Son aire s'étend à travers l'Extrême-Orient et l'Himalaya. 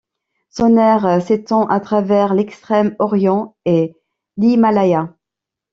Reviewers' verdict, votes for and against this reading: rejected, 0, 2